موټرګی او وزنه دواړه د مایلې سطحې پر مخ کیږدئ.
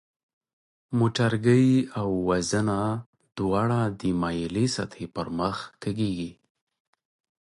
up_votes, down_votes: 1, 2